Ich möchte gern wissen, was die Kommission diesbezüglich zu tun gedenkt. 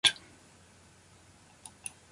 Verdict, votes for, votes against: rejected, 0, 2